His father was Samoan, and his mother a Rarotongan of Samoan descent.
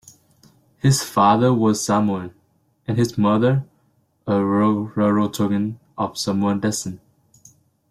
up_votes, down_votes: 1, 2